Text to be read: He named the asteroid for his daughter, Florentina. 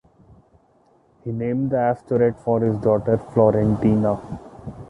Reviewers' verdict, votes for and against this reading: accepted, 2, 0